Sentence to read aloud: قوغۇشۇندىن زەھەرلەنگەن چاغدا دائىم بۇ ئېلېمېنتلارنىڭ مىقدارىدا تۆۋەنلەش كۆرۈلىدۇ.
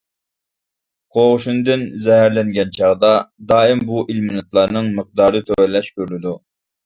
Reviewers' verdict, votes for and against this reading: rejected, 0, 2